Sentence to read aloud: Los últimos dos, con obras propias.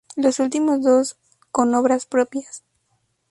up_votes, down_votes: 2, 0